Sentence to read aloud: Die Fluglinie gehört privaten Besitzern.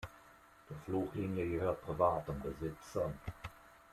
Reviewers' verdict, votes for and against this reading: accepted, 2, 0